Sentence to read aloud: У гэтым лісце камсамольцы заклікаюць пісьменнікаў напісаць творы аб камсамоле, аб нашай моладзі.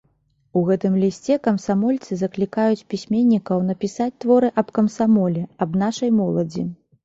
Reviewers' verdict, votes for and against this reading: accepted, 2, 0